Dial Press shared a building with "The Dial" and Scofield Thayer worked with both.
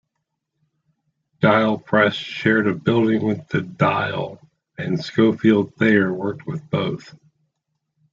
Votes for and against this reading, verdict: 1, 2, rejected